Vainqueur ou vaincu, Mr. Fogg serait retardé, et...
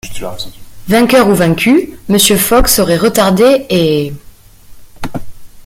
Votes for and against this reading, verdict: 1, 2, rejected